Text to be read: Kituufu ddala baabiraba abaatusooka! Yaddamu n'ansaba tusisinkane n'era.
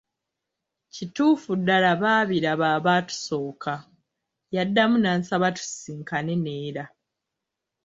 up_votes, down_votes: 2, 0